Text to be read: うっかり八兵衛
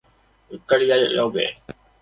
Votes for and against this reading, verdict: 1, 2, rejected